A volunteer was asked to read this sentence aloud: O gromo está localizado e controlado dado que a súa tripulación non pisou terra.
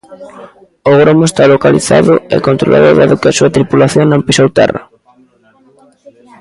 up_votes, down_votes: 2, 0